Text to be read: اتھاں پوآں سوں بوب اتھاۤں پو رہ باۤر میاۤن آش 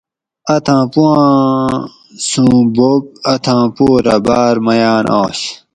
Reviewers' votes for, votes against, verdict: 2, 2, rejected